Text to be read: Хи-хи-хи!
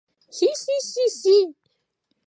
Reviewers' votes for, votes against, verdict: 0, 2, rejected